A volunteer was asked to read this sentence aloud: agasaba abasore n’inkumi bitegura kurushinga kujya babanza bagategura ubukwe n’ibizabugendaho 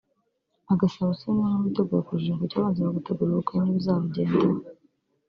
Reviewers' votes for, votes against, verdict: 2, 3, rejected